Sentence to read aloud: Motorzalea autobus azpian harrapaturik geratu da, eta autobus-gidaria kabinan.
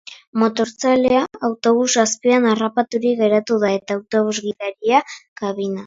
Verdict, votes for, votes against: rejected, 1, 2